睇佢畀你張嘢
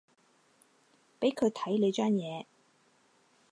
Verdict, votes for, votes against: rejected, 0, 4